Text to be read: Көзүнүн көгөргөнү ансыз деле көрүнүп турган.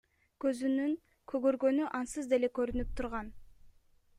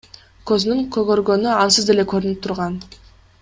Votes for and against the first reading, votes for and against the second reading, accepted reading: 1, 2, 2, 0, second